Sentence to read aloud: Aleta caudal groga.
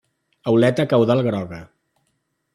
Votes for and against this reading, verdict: 1, 2, rejected